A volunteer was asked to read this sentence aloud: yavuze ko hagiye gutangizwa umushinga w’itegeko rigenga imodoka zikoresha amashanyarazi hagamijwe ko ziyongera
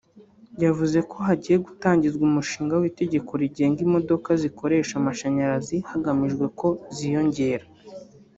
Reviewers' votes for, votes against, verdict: 0, 2, rejected